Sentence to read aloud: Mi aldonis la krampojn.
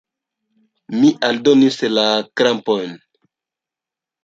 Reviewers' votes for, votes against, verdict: 3, 1, accepted